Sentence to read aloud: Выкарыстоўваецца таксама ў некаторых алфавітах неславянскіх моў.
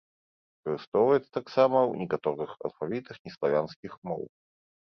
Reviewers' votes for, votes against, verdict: 1, 2, rejected